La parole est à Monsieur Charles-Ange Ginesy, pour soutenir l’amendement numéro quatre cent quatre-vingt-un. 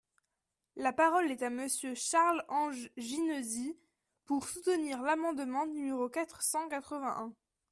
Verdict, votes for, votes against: accepted, 2, 0